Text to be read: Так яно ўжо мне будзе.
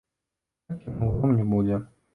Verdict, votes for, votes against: rejected, 0, 2